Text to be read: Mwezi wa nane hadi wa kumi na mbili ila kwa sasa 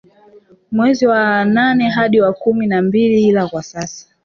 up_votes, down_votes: 0, 2